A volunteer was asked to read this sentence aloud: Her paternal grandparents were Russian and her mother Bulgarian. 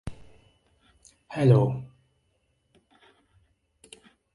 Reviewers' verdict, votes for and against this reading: rejected, 0, 2